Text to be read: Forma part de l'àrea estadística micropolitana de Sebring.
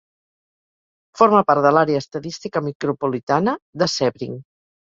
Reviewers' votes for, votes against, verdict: 4, 0, accepted